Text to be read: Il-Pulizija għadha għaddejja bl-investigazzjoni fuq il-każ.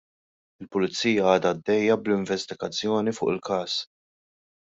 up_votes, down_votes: 2, 0